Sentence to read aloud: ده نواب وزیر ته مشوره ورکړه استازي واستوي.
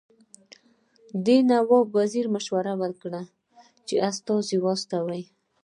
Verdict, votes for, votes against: rejected, 1, 2